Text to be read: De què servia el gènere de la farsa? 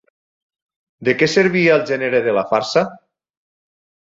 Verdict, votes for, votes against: accepted, 6, 0